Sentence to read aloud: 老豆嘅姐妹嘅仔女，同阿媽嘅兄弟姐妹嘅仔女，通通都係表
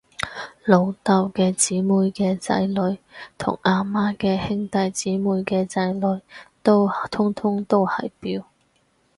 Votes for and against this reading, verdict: 0, 4, rejected